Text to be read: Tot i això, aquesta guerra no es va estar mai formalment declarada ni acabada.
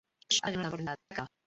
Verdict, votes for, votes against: rejected, 0, 2